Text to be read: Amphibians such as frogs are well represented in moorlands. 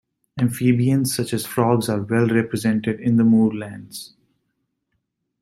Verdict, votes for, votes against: rejected, 1, 2